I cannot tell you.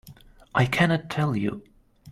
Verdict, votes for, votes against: accepted, 2, 0